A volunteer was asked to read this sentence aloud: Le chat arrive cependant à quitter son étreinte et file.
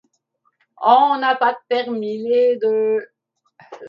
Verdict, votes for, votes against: rejected, 0, 2